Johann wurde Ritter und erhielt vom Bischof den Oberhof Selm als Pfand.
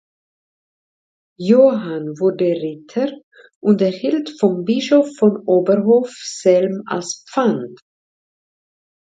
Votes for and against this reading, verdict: 1, 2, rejected